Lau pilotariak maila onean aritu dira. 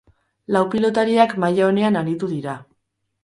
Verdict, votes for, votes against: accepted, 6, 0